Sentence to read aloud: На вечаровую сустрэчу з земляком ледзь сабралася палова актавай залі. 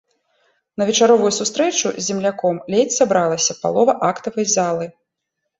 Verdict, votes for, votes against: rejected, 1, 2